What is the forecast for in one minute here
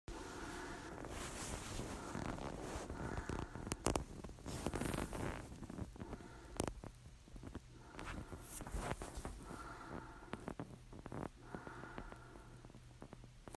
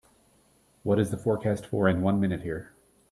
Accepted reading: second